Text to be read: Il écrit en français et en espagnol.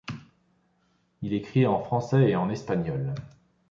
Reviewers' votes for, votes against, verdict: 2, 0, accepted